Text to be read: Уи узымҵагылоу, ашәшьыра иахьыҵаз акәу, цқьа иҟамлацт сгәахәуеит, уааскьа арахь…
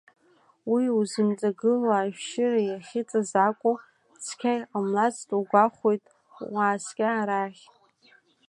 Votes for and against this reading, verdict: 2, 1, accepted